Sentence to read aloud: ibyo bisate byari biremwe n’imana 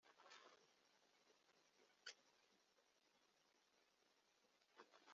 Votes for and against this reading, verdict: 0, 2, rejected